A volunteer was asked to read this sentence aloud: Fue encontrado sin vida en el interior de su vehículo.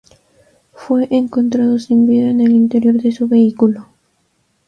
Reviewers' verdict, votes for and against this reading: accepted, 2, 0